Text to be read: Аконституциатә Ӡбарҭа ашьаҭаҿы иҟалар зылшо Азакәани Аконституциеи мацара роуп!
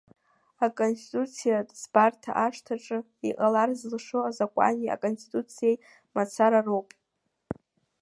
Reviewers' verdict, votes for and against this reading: rejected, 1, 2